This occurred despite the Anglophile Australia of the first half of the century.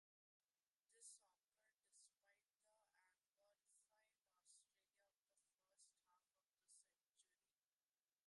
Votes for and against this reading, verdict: 0, 2, rejected